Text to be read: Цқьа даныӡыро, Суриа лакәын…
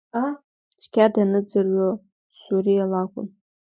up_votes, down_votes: 2, 1